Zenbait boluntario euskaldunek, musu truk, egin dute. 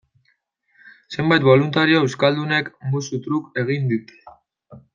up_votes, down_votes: 0, 2